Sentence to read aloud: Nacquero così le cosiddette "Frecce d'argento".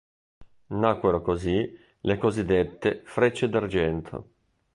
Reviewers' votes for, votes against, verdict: 1, 2, rejected